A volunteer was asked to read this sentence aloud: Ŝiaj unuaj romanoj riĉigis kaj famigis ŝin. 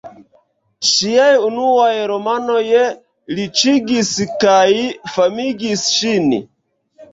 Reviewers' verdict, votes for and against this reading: rejected, 0, 2